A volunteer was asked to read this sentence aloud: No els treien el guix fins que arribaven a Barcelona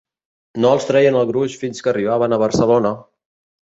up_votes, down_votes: 1, 2